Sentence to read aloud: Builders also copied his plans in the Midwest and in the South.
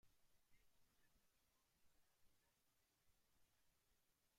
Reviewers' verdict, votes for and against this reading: rejected, 0, 2